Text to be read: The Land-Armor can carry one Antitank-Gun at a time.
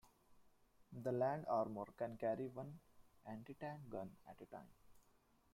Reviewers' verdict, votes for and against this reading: rejected, 0, 2